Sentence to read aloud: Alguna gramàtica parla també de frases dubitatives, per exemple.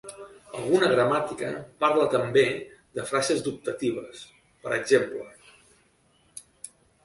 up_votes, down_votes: 0, 2